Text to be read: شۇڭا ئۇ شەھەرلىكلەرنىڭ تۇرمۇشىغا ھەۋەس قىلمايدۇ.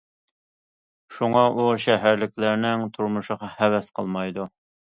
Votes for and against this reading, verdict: 2, 0, accepted